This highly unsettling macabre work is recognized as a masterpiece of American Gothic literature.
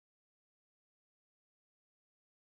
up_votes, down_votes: 0, 2